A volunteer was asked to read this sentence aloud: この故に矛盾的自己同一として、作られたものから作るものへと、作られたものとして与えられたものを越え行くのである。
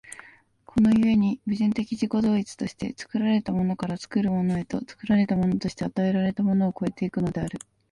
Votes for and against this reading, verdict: 1, 2, rejected